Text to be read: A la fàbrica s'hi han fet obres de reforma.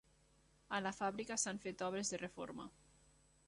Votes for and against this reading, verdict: 1, 2, rejected